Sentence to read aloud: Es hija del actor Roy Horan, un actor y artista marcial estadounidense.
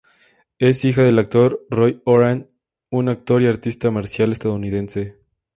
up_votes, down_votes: 2, 0